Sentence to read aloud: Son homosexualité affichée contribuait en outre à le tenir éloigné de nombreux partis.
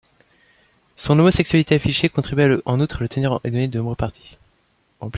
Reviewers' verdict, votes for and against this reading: rejected, 0, 2